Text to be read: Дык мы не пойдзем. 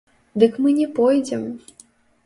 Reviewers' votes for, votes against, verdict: 0, 2, rejected